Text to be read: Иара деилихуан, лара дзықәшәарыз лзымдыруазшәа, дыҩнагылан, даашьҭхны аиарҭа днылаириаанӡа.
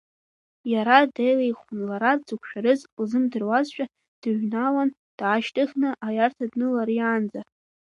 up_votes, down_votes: 1, 2